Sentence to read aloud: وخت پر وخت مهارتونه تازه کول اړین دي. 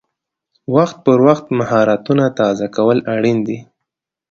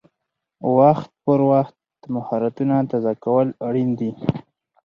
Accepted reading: first